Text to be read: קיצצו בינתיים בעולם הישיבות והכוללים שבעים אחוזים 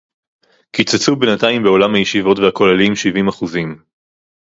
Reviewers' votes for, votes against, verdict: 0, 2, rejected